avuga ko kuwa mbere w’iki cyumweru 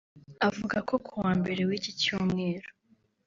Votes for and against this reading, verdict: 2, 0, accepted